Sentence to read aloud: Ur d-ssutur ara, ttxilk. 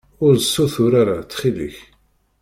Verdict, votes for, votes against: rejected, 1, 2